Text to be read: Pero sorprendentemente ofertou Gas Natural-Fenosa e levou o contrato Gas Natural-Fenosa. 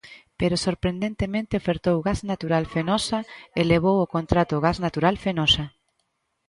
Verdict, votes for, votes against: accepted, 2, 0